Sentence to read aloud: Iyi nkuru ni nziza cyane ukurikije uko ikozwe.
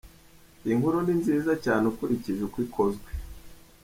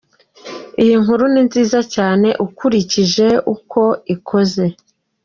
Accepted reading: first